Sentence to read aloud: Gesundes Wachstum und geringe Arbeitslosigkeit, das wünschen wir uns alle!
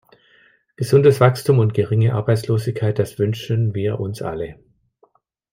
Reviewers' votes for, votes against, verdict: 2, 0, accepted